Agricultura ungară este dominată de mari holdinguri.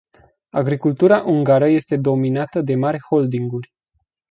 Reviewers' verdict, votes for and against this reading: accepted, 2, 0